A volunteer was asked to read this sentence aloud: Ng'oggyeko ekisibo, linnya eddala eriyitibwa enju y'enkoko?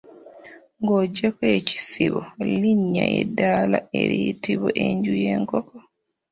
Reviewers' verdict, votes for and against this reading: rejected, 0, 2